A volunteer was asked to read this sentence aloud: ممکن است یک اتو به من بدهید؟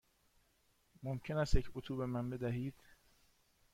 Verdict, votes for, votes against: accepted, 2, 0